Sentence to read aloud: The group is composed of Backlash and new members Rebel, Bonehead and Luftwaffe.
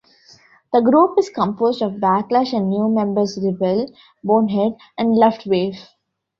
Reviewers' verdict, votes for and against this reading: accepted, 2, 1